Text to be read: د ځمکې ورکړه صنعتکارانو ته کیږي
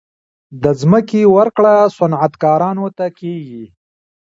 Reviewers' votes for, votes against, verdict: 1, 2, rejected